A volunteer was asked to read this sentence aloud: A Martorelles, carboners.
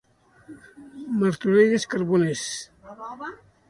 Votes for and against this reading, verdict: 1, 2, rejected